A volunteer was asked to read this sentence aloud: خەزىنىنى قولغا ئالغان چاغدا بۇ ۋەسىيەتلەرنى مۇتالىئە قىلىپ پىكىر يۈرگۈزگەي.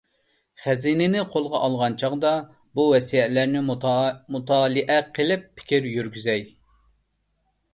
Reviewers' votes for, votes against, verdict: 0, 2, rejected